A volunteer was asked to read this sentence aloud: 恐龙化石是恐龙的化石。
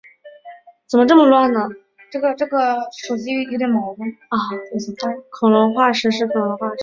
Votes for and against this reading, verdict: 0, 4, rejected